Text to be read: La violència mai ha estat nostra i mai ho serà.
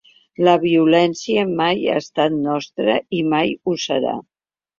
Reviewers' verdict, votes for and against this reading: accepted, 2, 0